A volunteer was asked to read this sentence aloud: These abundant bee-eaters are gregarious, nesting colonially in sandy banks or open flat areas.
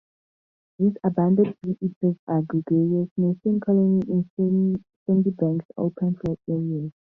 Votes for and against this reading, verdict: 2, 4, rejected